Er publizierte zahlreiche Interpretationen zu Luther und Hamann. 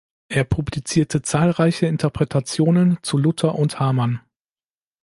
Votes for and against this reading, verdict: 2, 0, accepted